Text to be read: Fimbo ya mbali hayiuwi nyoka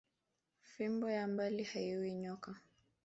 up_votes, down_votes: 2, 0